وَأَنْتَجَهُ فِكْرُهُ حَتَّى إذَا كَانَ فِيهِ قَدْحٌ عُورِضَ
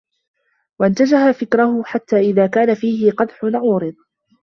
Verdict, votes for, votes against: rejected, 1, 2